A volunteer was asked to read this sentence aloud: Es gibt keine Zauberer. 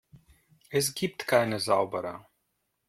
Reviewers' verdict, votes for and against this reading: rejected, 1, 2